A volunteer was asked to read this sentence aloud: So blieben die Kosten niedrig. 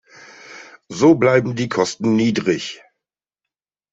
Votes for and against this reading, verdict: 0, 2, rejected